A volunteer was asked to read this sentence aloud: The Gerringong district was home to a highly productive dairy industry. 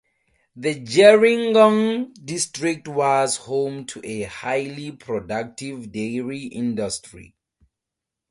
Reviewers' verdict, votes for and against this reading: accepted, 4, 0